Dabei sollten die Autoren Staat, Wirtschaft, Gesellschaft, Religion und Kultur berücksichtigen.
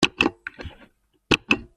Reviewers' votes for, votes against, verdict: 0, 2, rejected